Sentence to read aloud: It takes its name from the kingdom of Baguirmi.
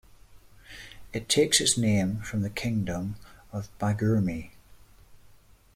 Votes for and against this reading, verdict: 2, 0, accepted